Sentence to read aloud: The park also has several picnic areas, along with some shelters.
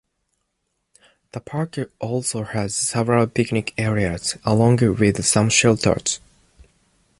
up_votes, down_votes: 2, 0